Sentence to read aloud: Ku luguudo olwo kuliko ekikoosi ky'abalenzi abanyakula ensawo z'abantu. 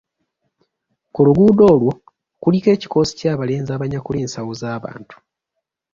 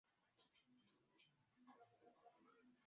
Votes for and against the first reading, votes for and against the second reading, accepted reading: 2, 0, 0, 2, first